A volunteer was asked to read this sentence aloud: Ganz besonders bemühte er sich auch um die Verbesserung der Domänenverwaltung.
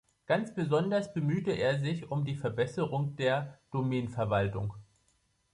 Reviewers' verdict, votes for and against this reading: rejected, 0, 2